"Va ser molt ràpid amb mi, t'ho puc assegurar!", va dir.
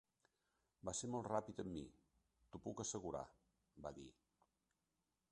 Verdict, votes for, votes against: accepted, 3, 1